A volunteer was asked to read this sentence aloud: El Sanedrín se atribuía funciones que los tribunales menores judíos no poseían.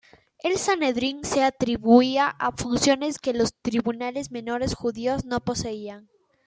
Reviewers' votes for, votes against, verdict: 0, 2, rejected